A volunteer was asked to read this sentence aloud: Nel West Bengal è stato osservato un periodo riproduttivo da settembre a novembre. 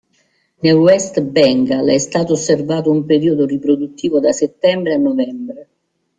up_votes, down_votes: 2, 0